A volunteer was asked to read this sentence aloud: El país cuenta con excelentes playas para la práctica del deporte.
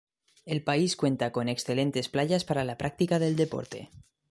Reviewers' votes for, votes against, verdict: 2, 0, accepted